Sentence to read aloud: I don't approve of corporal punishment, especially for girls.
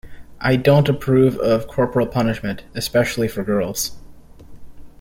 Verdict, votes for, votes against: accepted, 2, 0